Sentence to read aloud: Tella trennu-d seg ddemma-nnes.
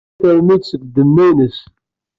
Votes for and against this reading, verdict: 1, 2, rejected